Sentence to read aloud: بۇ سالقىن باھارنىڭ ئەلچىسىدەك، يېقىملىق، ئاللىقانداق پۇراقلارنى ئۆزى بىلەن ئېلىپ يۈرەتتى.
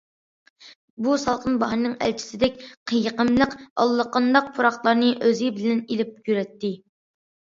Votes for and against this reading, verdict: 2, 0, accepted